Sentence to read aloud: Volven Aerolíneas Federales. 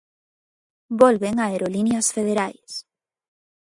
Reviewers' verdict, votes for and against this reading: rejected, 1, 2